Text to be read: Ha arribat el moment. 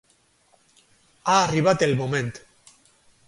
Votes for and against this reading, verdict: 0, 4, rejected